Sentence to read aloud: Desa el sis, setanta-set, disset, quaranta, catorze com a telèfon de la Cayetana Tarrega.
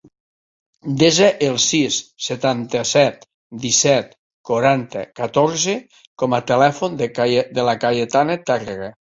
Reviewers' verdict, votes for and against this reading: rejected, 0, 2